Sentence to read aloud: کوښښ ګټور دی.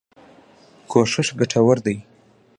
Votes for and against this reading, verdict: 0, 2, rejected